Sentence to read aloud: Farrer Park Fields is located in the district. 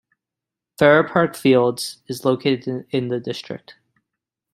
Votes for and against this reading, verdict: 2, 1, accepted